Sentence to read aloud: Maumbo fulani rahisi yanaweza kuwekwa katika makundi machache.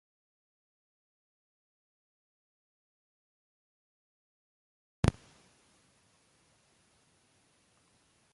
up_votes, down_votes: 1, 2